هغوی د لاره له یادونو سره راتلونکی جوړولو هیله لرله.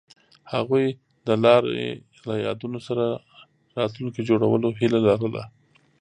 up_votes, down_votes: 1, 2